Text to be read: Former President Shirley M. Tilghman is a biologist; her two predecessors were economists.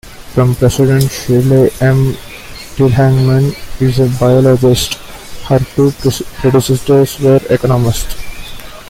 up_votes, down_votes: 1, 2